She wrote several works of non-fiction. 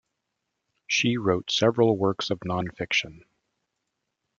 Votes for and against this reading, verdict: 2, 0, accepted